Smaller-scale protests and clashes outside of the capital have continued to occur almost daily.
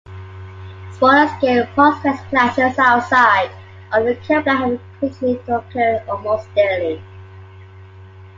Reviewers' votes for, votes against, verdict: 0, 2, rejected